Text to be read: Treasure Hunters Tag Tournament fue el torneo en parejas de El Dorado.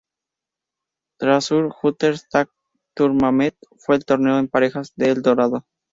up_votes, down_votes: 2, 0